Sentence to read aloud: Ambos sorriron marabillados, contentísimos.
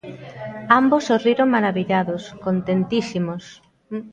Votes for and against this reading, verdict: 1, 2, rejected